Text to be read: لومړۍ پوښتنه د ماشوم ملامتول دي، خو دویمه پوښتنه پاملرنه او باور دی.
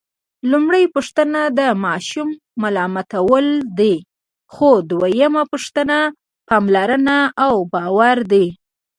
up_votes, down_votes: 1, 2